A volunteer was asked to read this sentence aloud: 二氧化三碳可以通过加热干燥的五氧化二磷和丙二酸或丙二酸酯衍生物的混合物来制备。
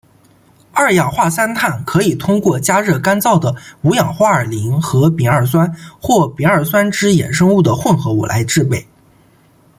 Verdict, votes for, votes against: accepted, 2, 0